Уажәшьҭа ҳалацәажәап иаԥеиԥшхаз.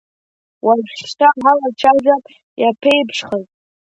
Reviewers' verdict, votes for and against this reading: rejected, 2, 3